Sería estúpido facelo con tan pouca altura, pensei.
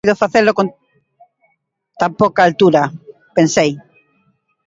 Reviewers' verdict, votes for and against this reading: rejected, 0, 2